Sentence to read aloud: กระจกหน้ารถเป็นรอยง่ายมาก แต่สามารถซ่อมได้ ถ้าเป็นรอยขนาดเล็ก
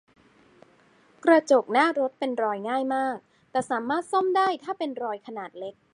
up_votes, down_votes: 2, 0